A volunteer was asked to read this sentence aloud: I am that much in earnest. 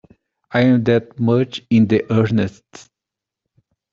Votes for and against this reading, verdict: 1, 2, rejected